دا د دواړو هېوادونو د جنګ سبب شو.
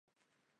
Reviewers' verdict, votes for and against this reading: rejected, 0, 2